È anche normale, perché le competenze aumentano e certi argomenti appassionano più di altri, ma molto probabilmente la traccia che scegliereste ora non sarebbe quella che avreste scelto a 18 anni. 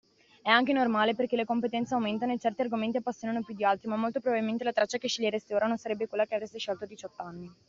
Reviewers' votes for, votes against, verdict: 0, 2, rejected